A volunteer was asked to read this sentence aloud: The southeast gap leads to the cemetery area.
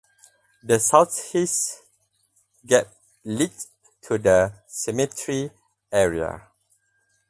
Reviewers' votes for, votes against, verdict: 0, 2, rejected